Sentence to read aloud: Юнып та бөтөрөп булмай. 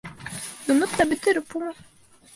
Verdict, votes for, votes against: rejected, 1, 3